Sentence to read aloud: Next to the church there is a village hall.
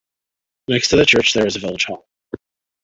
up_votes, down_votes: 1, 2